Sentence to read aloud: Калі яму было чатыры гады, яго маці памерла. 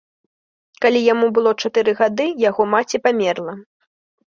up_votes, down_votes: 2, 0